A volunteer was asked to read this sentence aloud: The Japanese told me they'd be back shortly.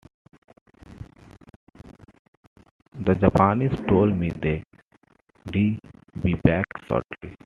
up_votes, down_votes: 1, 2